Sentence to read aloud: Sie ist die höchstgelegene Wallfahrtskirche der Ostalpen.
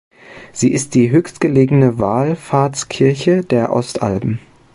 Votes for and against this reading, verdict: 0, 2, rejected